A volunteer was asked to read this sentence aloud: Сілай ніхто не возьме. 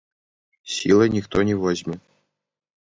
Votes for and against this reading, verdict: 0, 2, rejected